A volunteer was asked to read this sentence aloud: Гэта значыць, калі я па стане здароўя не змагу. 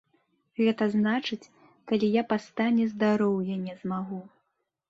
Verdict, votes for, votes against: accepted, 2, 0